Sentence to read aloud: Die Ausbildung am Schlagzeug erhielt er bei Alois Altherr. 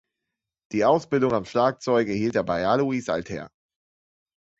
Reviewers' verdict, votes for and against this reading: accepted, 2, 0